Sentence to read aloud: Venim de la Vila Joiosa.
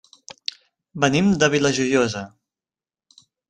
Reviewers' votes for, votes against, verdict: 0, 2, rejected